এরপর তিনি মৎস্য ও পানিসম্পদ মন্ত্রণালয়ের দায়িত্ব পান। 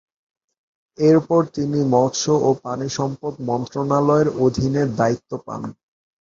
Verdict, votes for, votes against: rejected, 4, 7